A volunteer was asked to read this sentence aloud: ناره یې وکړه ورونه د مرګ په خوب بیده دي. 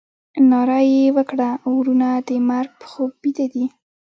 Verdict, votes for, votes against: rejected, 1, 2